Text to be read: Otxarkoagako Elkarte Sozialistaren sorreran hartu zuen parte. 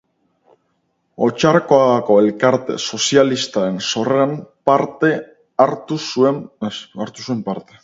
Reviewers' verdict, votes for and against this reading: rejected, 0, 4